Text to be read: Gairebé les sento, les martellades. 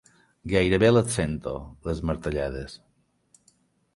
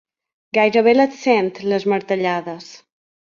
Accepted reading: first